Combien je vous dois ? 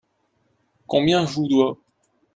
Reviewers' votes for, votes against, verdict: 2, 1, accepted